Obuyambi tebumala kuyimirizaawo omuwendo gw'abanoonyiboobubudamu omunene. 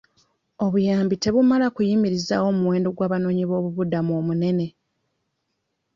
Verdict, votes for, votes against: accepted, 2, 0